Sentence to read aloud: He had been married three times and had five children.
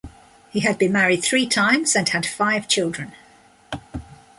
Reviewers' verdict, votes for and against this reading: accepted, 2, 0